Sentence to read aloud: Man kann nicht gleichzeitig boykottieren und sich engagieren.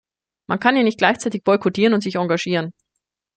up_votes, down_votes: 1, 2